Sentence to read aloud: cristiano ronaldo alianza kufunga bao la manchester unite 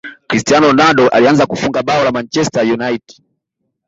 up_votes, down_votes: 2, 0